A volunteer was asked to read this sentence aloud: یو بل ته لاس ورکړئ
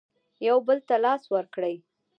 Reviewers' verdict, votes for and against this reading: rejected, 0, 2